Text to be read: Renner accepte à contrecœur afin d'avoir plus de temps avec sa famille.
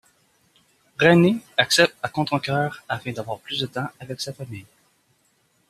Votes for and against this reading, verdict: 0, 2, rejected